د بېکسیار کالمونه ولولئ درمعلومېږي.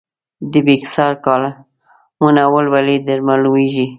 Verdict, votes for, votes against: rejected, 1, 2